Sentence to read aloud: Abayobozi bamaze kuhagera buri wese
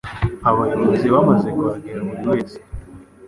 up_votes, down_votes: 2, 0